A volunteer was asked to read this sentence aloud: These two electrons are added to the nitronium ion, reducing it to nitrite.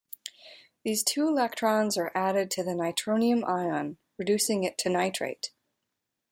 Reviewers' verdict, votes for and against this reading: accepted, 2, 0